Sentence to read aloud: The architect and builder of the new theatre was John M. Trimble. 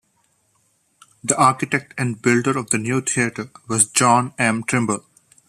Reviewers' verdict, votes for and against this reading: accepted, 2, 0